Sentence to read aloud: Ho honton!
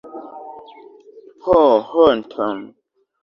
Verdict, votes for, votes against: accepted, 2, 1